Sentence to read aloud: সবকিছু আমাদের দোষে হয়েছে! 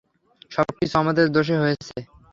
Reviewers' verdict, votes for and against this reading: rejected, 0, 3